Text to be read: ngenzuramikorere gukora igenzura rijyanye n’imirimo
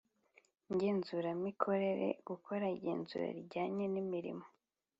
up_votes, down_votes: 2, 0